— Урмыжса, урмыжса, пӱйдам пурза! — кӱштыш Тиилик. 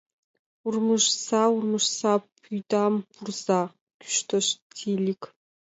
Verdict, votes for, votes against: accepted, 2, 0